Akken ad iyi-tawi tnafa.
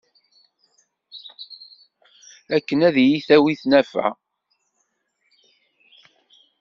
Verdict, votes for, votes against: accepted, 2, 0